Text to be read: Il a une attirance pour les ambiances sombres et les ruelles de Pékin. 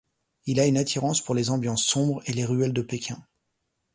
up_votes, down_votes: 2, 0